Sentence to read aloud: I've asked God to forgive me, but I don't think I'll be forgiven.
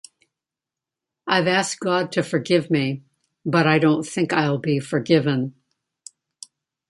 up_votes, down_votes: 2, 0